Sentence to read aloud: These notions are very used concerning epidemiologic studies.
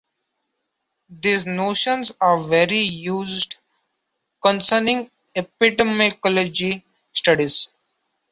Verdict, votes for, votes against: rejected, 0, 2